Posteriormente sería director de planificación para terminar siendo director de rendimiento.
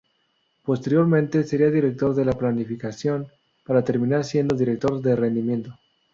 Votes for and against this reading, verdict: 0, 2, rejected